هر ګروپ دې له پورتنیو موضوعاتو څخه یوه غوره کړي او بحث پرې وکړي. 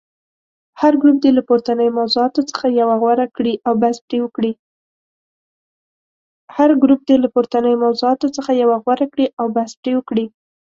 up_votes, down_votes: 0, 2